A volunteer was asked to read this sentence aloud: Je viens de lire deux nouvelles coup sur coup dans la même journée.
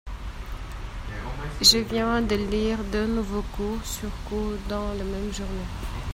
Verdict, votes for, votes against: rejected, 0, 2